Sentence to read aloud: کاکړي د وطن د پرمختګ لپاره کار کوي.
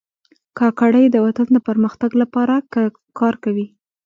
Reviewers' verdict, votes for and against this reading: accepted, 2, 0